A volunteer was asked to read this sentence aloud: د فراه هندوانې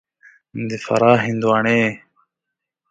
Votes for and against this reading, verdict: 2, 0, accepted